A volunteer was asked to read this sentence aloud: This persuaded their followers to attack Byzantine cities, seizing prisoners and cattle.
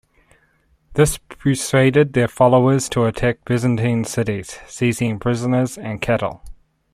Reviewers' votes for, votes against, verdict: 2, 0, accepted